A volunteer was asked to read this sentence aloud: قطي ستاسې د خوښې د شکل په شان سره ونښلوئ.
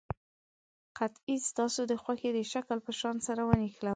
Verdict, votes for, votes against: rejected, 1, 2